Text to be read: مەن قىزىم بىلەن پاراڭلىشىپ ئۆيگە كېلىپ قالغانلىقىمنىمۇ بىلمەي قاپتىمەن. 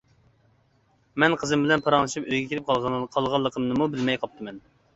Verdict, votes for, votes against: rejected, 0, 2